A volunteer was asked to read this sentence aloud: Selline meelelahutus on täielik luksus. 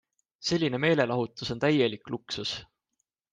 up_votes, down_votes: 2, 0